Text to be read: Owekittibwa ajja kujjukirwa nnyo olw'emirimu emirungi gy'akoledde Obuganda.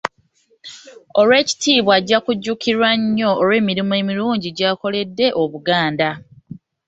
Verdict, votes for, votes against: rejected, 1, 2